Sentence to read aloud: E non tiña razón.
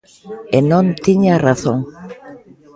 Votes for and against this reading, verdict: 2, 1, accepted